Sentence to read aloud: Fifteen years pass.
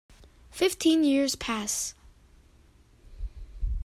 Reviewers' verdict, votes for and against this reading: accepted, 2, 0